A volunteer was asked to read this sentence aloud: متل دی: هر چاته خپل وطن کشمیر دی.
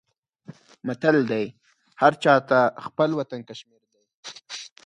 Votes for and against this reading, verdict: 0, 4, rejected